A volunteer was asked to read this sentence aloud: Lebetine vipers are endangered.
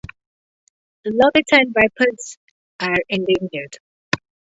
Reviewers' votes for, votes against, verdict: 4, 0, accepted